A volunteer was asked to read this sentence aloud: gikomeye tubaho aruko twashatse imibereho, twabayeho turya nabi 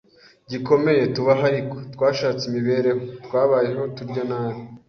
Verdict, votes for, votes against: accepted, 2, 0